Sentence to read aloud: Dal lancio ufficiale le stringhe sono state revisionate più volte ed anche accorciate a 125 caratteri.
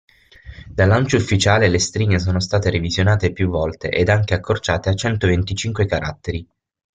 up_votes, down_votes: 0, 2